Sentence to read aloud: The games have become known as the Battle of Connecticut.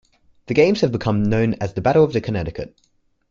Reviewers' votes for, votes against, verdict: 2, 1, accepted